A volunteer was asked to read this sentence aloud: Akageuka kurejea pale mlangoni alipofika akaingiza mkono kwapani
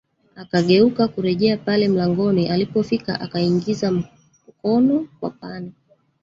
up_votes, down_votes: 1, 2